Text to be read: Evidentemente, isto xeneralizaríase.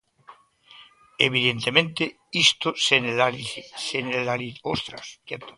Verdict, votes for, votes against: rejected, 0, 2